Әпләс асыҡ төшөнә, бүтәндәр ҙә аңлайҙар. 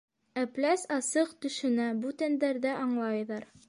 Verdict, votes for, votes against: accepted, 2, 1